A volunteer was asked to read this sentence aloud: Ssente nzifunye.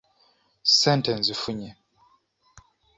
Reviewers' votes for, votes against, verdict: 2, 0, accepted